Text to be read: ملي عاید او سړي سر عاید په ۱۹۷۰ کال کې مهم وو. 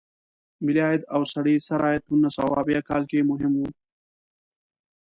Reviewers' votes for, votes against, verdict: 0, 2, rejected